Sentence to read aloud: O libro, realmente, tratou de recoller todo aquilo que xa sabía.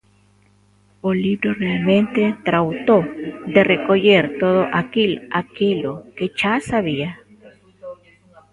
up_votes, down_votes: 0, 2